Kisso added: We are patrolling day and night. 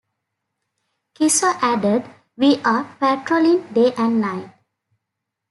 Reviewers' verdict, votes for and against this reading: accepted, 2, 0